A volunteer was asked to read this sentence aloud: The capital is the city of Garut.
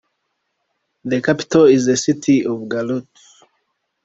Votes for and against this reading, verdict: 2, 0, accepted